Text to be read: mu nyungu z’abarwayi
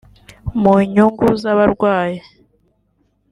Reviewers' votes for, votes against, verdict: 1, 2, rejected